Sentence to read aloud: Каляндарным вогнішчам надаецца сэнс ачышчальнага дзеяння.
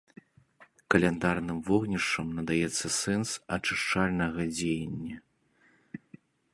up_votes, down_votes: 2, 0